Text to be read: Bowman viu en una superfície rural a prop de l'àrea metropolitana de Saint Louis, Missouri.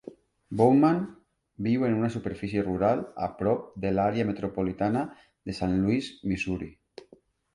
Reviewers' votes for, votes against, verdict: 3, 0, accepted